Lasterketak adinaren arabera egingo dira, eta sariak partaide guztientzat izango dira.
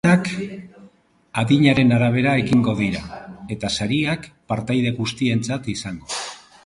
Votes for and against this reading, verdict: 1, 2, rejected